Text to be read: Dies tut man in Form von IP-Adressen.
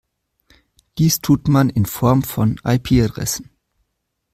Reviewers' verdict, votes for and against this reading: accepted, 2, 0